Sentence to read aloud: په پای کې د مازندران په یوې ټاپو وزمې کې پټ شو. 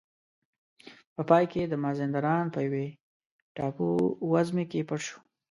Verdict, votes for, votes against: rejected, 1, 2